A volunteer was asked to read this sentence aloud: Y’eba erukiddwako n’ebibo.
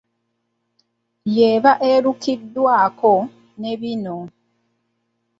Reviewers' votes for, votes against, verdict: 2, 0, accepted